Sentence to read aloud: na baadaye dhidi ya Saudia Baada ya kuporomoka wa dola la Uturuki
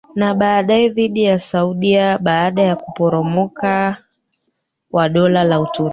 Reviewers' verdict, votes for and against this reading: rejected, 1, 3